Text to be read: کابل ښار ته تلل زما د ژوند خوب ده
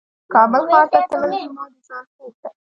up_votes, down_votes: 1, 2